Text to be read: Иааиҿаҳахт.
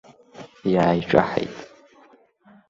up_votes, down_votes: 0, 2